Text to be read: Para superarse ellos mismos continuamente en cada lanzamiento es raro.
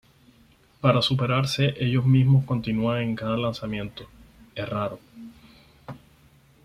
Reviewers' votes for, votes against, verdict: 2, 4, rejected